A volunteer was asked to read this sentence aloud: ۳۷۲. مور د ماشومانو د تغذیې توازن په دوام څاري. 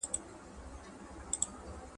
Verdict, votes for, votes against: rejected, 0, 2